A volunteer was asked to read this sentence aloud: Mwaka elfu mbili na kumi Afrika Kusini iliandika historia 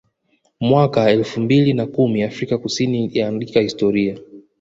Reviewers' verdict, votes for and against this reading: rejected, 0, 2